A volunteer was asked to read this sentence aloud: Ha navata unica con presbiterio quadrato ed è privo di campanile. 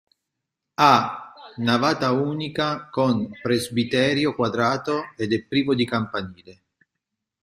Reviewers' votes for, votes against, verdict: 1, 2, rejected